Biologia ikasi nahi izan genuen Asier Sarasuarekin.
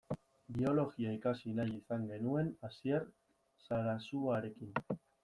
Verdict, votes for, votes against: rejected, 0, 2